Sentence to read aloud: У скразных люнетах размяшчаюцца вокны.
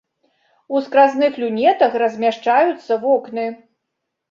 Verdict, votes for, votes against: accepted, 2, 0